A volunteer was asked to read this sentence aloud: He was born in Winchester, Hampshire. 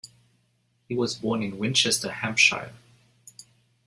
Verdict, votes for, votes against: accepted, 2, 0